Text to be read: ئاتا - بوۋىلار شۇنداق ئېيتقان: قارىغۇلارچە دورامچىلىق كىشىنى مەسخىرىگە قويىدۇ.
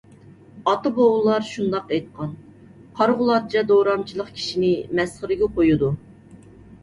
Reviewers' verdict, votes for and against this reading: accepted, 2, 0